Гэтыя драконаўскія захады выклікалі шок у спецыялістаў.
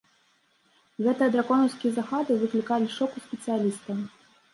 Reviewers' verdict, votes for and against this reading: rejected, 1, 2